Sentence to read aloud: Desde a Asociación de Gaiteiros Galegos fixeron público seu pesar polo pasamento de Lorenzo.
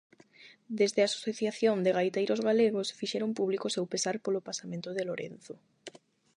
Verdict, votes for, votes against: rejected, 4, 4